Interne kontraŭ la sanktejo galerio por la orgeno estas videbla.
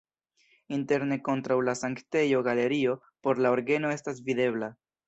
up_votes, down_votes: 2, 0